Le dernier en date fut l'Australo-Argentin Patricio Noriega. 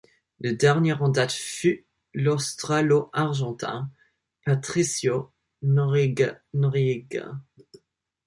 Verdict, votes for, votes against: rejected, 1, 2